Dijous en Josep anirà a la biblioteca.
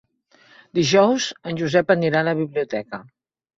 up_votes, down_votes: 5, 0